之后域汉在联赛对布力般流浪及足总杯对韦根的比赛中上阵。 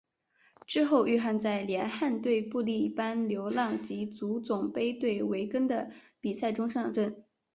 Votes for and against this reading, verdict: 0, 2, rejected